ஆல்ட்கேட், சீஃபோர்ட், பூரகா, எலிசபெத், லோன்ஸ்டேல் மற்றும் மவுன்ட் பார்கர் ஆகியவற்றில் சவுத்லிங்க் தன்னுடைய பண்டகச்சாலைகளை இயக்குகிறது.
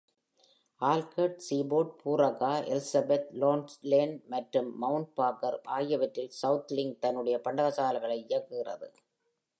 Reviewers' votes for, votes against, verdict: 2, 0, accepted